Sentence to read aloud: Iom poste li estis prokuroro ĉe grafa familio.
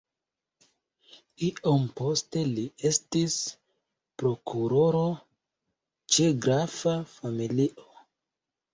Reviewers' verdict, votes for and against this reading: rejected, 0, 2